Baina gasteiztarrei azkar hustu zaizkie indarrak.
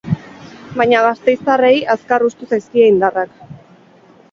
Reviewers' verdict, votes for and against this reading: accepted, 4, 0